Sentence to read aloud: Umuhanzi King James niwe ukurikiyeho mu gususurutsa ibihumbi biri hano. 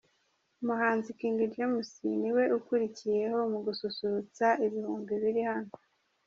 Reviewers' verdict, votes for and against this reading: accepted, 2, 0